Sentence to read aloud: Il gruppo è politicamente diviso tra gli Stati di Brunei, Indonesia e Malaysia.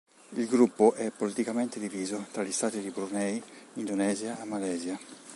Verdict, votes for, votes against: rejected, 0, 2